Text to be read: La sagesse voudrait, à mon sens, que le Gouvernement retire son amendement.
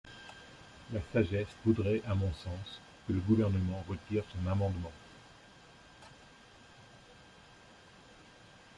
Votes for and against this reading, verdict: 0, 2, rejected